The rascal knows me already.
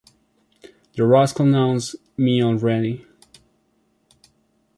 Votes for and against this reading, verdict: 1, 2, rejected